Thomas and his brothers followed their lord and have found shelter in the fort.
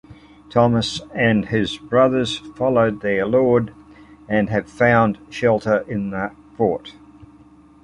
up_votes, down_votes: 2, 0